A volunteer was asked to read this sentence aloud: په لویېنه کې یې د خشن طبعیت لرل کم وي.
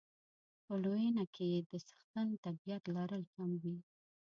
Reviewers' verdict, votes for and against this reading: rejected, 1, 2